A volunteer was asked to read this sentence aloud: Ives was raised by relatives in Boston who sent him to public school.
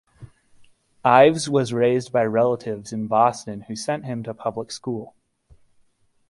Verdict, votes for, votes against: accepted, 2, 0